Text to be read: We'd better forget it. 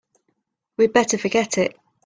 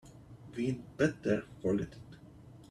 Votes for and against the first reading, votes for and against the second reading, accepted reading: 2, 1, 1, 2, first